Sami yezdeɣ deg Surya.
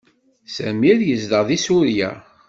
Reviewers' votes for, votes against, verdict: 2, 0, accepted